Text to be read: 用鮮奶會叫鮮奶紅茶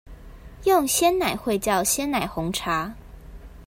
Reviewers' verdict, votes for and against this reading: accepted, 2, 0